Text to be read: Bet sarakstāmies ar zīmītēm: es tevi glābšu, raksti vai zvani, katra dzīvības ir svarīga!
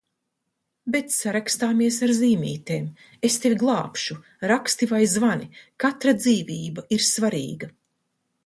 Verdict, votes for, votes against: rejected, 0, 2